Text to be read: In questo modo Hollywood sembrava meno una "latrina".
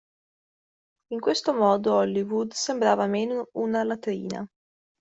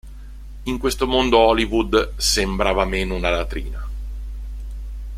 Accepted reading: first